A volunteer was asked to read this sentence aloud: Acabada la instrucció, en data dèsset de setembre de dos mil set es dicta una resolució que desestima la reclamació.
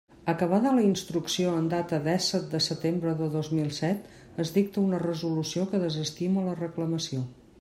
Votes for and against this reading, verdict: 2, 0, accepted